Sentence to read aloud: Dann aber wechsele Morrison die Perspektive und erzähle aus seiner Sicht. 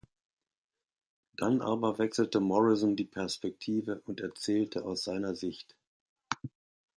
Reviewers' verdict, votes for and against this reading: rejected, 0, 2